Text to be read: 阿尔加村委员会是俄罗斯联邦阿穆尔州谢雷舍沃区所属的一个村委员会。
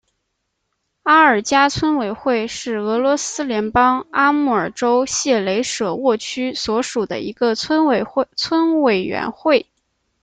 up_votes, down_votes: 0, 2